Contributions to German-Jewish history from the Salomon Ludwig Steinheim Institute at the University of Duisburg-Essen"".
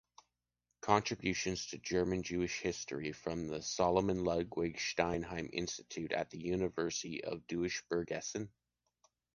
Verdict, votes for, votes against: accepted, 3, 1